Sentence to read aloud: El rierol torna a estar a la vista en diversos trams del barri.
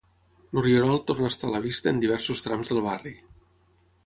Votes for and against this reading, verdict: 6, 0, accepted